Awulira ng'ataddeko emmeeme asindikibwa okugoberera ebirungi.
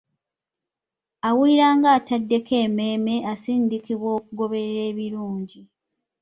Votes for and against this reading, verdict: 1, 2, rejected